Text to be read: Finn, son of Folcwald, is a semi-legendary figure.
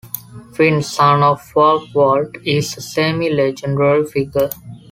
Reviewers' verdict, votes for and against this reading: rejected, 1, 2